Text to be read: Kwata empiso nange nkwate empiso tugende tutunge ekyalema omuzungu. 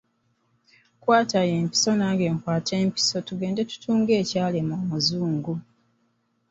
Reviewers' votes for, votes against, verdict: 2, 0, accepted